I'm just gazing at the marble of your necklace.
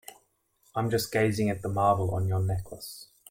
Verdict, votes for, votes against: rejected, 0, 2